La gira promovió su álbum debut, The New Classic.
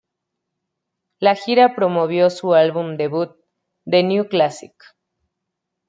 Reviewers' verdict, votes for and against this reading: accepted, 2, 0